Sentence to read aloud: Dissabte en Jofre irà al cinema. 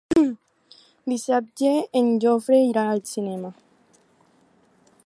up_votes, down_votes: 2, 2